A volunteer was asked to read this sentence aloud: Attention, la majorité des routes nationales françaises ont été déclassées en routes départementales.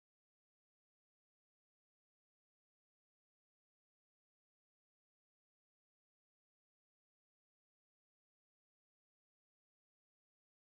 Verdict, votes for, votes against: rejected, 0, 2